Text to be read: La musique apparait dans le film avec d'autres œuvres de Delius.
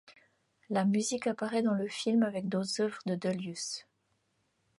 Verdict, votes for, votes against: accepted, 2, 0